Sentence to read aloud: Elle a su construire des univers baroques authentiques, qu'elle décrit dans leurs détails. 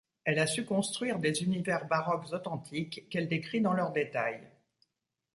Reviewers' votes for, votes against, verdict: 2, 1, accepted